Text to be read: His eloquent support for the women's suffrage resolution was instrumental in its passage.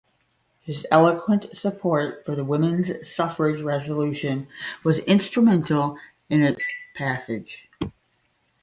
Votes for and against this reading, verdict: 5, 0, accepted